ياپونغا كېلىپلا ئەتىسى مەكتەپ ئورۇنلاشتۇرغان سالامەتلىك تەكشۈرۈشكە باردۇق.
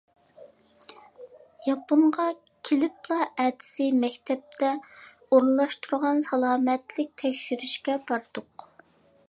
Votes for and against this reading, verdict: 0, 2, rejected